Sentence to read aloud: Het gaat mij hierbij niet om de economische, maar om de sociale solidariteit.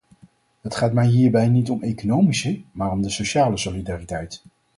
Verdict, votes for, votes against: rejected, 2, 4